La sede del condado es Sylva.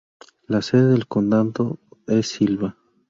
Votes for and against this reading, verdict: 0, 2, rejected